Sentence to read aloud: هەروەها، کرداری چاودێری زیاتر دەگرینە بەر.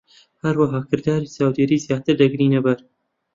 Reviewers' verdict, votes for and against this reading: accepted, 2, 1